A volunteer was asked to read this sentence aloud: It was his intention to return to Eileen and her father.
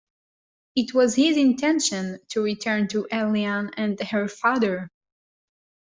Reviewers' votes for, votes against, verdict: 1, 2, rejected